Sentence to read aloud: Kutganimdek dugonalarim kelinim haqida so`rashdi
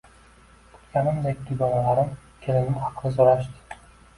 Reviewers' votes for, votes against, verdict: 1, 2, rejected